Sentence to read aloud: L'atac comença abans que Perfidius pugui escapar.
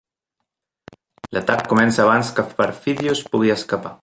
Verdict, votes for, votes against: accepted, 2, 0